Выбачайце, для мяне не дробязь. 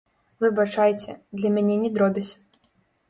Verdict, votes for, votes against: rejected, 0, 2